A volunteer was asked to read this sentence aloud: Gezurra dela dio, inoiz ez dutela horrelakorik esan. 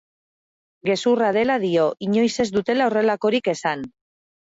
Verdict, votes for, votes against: accepted, 2, 0